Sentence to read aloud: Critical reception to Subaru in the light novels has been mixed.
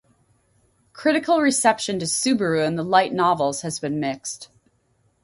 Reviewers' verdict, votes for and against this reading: rejected, 2, 2